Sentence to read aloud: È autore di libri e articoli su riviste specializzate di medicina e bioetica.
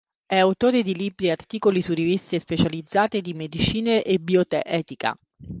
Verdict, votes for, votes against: rejected, 0, 2